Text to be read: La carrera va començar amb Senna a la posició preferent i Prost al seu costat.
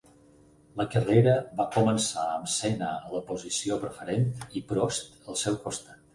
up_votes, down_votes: 4, 0